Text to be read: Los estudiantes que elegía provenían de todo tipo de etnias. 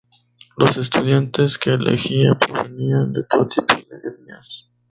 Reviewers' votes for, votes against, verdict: 2, 0, accepted